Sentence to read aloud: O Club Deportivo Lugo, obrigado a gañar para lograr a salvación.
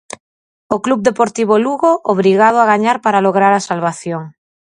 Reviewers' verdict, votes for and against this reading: accepted, 4, 0